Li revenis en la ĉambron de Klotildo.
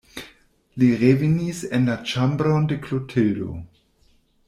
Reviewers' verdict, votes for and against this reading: rejected, 1, 2